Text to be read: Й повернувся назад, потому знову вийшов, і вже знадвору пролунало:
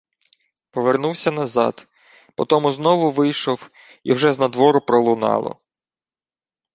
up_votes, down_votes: 1, 2